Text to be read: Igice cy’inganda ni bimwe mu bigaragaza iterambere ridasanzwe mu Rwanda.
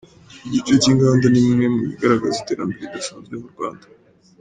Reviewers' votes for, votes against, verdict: 2, 1, accepted